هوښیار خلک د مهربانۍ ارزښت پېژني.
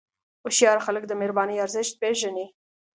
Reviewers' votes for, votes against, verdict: 2, 0, accepted